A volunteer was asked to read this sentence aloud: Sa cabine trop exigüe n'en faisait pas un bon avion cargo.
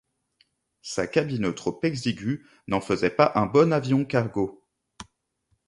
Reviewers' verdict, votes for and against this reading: rejected, 0, 2